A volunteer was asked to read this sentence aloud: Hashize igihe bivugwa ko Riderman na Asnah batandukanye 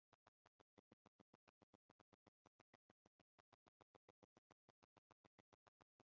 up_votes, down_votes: 1, 2